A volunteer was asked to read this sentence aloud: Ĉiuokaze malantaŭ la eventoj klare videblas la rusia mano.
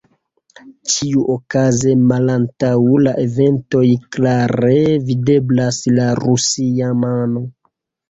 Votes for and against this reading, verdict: 2, 0, accepted